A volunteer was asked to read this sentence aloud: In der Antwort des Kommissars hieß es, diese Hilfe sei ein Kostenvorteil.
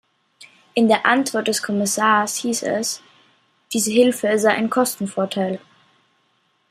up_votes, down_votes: 2, 0